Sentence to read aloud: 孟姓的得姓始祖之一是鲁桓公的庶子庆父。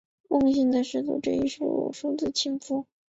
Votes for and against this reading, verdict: 0, 2, rejected